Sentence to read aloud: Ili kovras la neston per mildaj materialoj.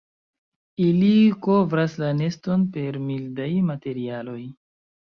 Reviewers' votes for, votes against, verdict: 1, 2, rejected